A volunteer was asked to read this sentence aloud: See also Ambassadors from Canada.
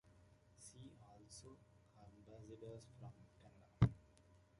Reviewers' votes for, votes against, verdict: 2, 0, accepted